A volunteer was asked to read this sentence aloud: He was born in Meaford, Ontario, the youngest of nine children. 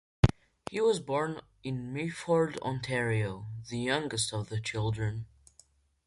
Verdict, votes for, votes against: rejected, 1, 2